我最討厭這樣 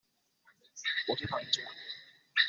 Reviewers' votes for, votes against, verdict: 1, 2, rejected